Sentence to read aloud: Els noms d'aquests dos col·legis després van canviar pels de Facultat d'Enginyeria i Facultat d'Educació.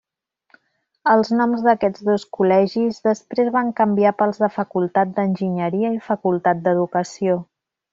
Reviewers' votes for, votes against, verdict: 3, 0, accepted